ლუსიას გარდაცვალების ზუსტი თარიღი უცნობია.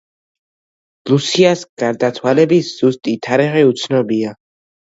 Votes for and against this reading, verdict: 2, 0, accepted